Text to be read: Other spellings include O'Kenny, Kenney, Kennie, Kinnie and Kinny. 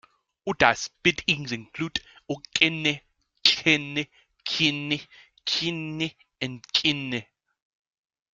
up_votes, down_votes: 0, 2